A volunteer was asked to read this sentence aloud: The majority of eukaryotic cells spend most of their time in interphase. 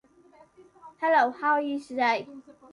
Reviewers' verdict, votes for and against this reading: rejected, 1, 2